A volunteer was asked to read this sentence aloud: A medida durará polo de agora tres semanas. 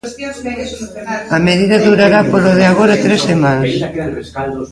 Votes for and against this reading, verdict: 0, 2, rejected